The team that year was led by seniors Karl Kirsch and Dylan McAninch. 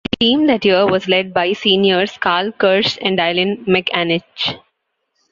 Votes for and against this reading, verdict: 2, 1, accepted